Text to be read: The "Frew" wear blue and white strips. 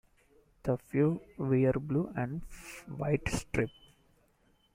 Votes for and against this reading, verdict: 0, 2, rejected